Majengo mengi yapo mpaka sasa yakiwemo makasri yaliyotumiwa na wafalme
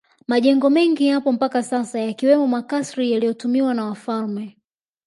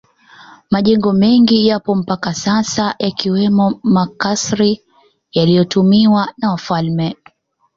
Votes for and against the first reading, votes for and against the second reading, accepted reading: 2, 0, 1, 2, first